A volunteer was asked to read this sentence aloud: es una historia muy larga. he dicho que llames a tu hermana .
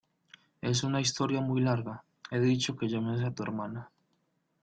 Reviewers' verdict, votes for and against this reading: accepted, 2, 0